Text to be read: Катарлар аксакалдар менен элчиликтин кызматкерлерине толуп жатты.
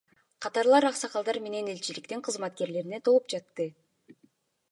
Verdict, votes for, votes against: accepted, 2, 1